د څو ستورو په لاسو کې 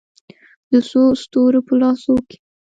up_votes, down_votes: 0, 3